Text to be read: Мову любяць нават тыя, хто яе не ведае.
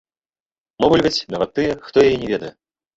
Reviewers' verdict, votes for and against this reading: rejected, 1, 2